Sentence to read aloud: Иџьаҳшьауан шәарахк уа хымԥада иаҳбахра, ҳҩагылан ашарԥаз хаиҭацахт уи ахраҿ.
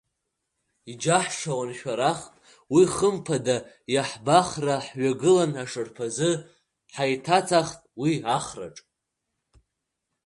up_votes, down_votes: 0, 2